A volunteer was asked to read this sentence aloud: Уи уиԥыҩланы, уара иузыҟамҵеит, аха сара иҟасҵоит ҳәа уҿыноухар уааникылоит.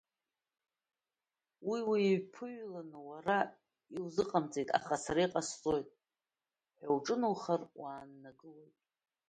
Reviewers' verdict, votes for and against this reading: rejected, 0, 2